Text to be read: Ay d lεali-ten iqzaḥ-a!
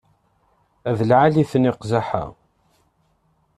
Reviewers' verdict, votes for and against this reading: accepted, 2, 0